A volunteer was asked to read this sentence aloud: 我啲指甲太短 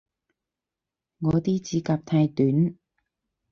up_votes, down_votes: 4, 0